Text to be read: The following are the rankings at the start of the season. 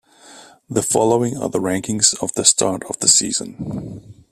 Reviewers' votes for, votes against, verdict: 0, 2, rejected